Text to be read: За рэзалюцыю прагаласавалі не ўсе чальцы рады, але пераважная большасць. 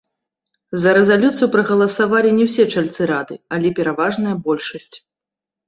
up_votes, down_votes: 0, 2